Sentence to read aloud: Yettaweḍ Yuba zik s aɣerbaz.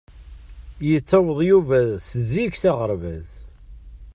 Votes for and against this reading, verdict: 1, 2, rejected